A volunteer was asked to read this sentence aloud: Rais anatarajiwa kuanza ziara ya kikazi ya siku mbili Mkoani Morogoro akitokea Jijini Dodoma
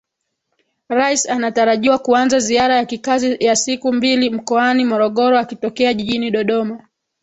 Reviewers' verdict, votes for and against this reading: accepted, 4, 0